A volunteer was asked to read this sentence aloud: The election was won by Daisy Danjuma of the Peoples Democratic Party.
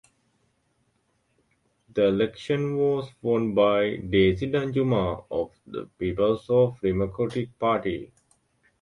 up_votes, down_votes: 0, 2